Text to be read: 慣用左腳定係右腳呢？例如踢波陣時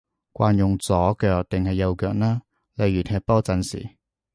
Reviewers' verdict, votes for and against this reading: accepted, 2, 0